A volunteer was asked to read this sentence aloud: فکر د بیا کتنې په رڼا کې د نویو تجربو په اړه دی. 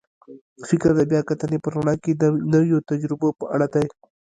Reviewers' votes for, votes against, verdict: 1, 2, rejected